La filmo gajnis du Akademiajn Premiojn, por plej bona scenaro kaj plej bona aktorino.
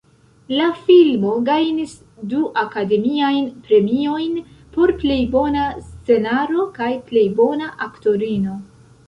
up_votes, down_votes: 2, 0